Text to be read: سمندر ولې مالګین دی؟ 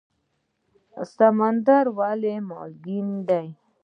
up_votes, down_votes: 2, 0